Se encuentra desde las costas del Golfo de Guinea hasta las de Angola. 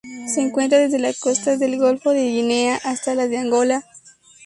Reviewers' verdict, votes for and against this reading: accepted, 2, 0